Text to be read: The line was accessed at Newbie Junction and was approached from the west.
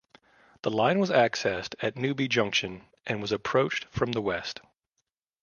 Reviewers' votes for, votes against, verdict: 2, 0, accepted